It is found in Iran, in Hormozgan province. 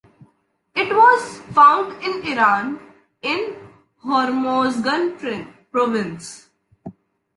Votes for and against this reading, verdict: 0, 2, rejected